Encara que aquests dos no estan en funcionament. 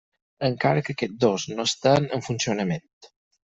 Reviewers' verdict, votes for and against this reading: accepted, 4, 0